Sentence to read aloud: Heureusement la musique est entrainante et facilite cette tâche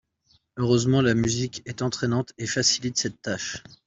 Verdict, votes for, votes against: accepted, 2, 0